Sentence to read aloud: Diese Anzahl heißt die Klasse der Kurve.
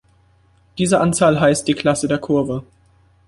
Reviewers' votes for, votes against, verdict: 2, 0, accepted